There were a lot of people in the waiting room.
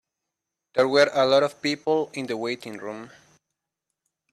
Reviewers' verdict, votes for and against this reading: accepted, 2, 0